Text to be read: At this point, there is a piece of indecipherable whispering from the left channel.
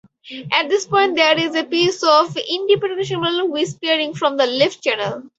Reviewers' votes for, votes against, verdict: 0, 4, rejected